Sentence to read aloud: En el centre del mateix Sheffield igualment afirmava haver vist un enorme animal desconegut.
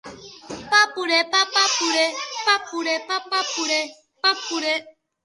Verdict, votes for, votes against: rejected, 0, 2